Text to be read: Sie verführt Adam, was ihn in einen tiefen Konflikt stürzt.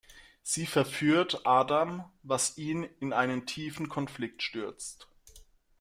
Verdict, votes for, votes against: accepted, 2, 0